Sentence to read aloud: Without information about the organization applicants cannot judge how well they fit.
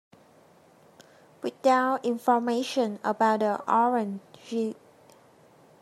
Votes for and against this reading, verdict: 0, 2, rejected